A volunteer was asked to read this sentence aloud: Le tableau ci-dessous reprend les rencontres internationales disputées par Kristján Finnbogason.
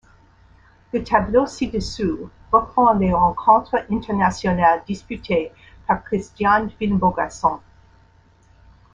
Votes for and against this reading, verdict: 2, 1, accepted